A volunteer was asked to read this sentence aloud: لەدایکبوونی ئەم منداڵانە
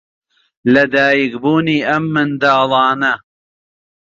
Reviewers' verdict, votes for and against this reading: accepted, 2, 0